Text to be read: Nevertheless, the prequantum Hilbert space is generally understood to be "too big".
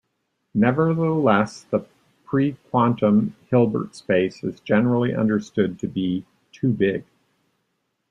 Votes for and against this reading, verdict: 2, 1, accepted